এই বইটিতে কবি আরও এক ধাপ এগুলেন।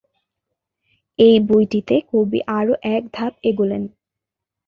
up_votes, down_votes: 2, 0